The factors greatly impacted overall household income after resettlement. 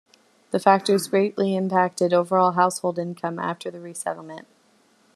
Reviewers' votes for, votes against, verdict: 2, 0, accepted